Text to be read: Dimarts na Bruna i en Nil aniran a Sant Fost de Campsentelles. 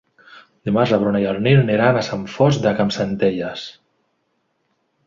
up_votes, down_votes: 2, 3